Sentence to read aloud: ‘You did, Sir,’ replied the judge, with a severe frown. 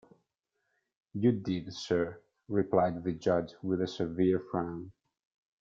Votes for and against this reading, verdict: 2, 0, accepted